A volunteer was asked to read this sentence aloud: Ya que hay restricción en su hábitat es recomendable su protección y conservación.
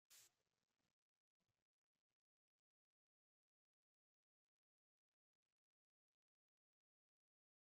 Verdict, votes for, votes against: rejected, 0, 2